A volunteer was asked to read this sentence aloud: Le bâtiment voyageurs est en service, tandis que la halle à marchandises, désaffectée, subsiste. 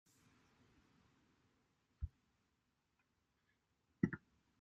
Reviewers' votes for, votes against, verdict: 0, 2, rejected